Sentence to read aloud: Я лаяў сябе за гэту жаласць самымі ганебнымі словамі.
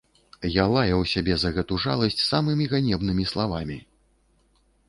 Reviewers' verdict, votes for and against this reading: rejected, 0, 2